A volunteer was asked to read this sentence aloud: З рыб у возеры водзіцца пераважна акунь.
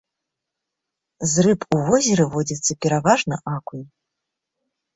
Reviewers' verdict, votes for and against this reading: accepted, 2, 1